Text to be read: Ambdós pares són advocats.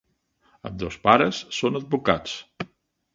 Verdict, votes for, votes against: accepted, 2, 0